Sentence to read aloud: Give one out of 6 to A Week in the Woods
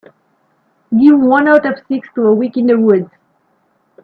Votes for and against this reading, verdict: 0, 2, rejected